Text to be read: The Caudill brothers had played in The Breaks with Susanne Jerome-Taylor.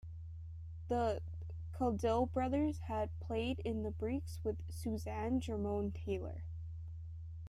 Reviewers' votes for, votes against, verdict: 2, 0, accepted